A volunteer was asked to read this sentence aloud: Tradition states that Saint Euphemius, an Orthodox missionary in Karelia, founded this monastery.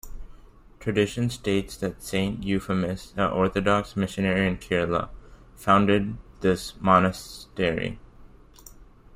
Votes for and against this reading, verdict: 1, 2, rejected